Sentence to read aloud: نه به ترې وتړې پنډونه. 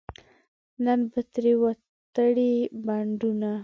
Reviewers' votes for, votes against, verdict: 0, 2, rejected